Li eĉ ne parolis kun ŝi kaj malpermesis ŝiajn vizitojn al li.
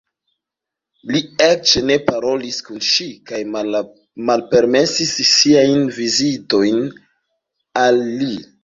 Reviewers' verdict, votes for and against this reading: rejected, 0, 2